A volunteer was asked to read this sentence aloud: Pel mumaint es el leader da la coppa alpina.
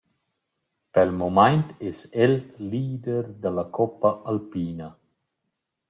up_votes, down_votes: 2, 0